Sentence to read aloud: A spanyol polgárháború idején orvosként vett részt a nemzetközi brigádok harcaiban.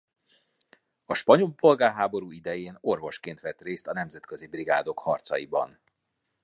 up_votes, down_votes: 2, 0